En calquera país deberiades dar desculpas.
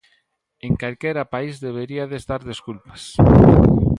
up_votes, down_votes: 2, 0